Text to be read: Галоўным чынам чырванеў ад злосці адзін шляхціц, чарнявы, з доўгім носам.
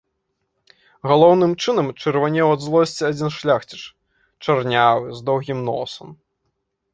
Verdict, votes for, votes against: rejected, 0, 2